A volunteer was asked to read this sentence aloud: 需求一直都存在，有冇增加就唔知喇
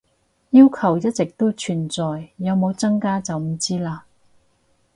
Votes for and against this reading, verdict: 0, 2, rejected